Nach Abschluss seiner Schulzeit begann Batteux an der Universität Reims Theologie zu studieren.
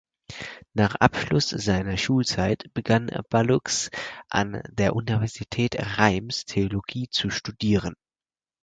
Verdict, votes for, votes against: rejected, 2, 4